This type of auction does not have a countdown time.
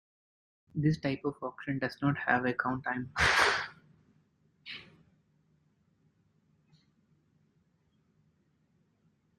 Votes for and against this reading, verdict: 0, 2, rejected